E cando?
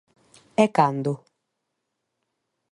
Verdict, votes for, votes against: accepted, 2, 0